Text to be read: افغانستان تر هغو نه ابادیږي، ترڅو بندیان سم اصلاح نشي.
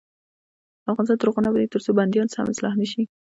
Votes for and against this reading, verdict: 1, 2, rejected